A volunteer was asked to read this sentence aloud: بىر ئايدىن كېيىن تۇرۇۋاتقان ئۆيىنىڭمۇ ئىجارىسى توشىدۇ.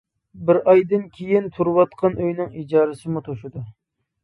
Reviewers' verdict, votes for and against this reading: rejected, 0, 2